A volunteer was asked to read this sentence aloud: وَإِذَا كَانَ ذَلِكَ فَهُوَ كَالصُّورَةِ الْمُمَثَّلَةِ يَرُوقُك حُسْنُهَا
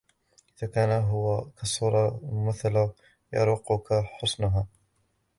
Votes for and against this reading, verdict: 1, 3, rejected